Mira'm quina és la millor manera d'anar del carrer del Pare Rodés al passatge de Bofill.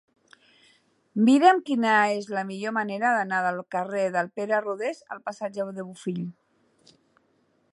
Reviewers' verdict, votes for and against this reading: accepted, 5, 3